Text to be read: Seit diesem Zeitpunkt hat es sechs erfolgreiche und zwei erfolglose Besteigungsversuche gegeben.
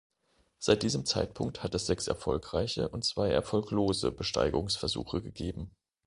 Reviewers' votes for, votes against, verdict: 2, 1, accepted